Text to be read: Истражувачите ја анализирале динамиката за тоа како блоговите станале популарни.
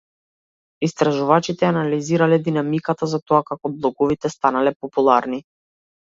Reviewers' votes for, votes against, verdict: 2, 0, accepted